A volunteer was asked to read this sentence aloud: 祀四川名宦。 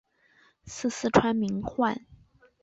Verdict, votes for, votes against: rejected, 2, 3